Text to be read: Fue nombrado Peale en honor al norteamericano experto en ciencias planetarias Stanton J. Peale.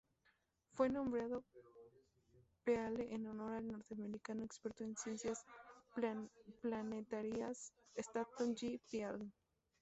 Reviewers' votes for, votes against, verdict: 0, 2, rejected